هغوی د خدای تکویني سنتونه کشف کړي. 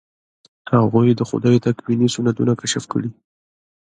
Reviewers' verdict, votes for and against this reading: rejected, 1, 2